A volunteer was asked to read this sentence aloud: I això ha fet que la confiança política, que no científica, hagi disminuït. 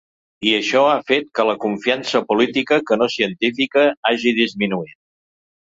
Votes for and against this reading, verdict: 3, 0, accepted